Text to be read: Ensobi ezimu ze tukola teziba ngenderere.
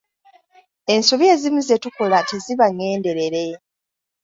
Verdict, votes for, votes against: accepted, 2, 0